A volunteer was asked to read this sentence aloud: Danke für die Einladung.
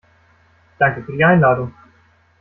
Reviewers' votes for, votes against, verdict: 2, 0, accepted